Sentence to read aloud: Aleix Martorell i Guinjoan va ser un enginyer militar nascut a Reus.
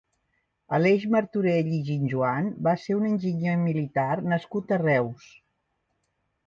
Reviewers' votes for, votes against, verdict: 1, 2, rejected